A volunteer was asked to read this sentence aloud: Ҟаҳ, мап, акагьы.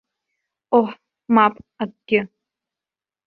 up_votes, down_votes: 1, 2